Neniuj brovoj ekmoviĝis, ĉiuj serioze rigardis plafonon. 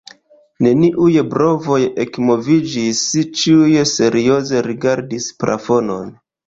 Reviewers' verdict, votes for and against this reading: rejected, 1, 2